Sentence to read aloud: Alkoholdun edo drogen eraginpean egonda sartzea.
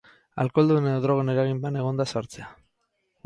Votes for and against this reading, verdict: 4, 2, accepted